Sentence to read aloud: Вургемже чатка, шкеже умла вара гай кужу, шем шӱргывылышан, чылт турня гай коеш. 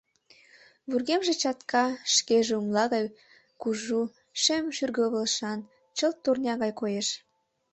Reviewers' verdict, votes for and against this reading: rejected, 1, 2